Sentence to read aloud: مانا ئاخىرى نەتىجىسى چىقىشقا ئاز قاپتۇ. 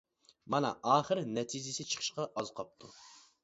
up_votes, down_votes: 2, 0